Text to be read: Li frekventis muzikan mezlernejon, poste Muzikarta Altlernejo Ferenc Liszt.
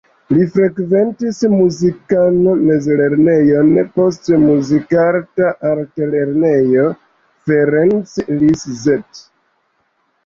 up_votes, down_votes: 1, 2